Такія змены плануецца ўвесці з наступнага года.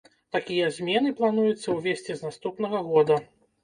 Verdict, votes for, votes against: accepted, 2, 0